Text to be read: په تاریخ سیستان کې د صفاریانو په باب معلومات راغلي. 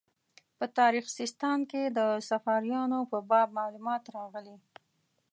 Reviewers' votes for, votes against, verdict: 2, 0, accepted